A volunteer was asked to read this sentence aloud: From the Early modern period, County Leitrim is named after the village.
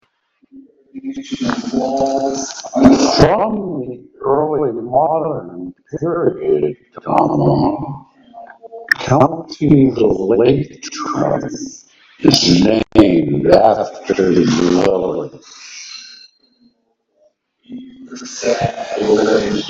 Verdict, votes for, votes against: rejected, 0, 2